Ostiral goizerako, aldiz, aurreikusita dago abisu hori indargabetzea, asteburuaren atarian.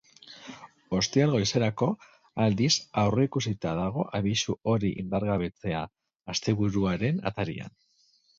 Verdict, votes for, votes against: accepted, 4, 0